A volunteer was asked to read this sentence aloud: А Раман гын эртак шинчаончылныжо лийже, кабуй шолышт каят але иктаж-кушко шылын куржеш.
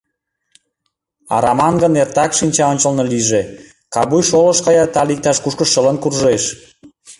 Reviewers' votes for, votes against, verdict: 1, 2, rejected